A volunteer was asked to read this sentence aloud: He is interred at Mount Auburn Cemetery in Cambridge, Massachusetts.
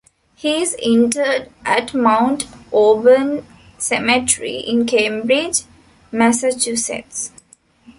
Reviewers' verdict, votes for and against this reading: accepted, 2, 1